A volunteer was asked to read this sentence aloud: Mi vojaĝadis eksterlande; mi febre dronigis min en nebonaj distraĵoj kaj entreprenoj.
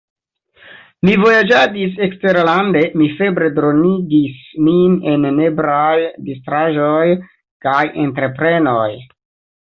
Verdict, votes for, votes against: rejected, 0, 2